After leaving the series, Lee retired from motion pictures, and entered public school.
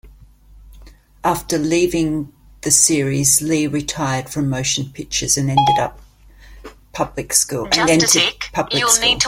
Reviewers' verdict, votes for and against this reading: rejected, 0, 2